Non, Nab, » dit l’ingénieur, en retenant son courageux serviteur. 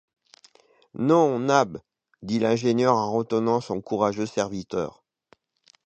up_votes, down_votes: 2, 0